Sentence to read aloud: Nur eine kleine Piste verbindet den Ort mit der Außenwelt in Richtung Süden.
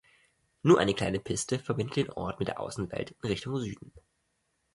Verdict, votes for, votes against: rejected, 1, 2